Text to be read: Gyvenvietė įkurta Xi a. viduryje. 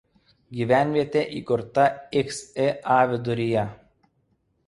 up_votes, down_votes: 1, 2